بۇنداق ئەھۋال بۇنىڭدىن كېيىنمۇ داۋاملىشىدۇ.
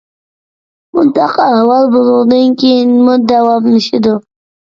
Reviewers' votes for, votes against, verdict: 2, 1, accepted